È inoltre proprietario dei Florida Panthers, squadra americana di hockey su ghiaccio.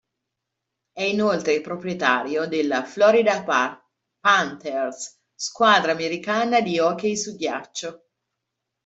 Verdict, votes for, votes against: rejected, 0, 2